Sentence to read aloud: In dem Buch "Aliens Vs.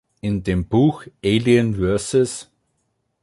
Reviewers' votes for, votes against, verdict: 2, 3, rejected